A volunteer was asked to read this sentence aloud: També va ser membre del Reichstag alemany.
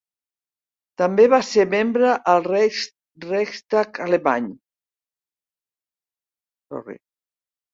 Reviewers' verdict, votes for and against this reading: rejected, 0, 2